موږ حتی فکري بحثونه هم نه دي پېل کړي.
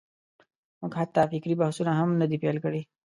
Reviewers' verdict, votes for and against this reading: accepted, 2, 0